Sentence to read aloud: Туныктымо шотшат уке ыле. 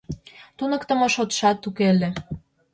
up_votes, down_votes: 2, 0